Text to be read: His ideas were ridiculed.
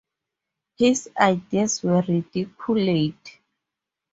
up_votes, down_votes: 2, 2